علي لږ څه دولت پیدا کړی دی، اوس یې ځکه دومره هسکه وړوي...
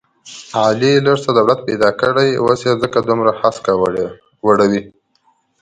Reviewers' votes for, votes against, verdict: 2, 1, accepted